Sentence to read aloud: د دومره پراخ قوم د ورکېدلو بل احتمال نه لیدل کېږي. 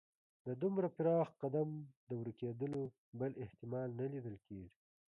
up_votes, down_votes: 1, 2